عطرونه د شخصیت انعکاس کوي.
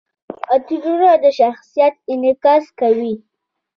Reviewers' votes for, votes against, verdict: 0, 2, rejected